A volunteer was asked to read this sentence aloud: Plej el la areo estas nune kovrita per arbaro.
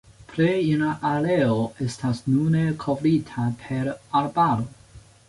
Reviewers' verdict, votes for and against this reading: accepted, 2, 1